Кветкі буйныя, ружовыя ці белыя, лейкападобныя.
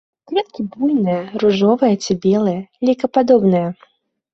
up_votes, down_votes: 0, 2